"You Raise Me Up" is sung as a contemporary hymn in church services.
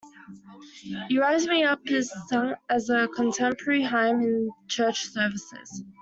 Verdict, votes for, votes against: rejected, 0, 2